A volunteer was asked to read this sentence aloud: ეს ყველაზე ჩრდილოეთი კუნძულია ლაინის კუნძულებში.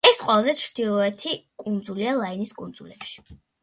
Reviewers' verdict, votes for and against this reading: accepted, 2, 1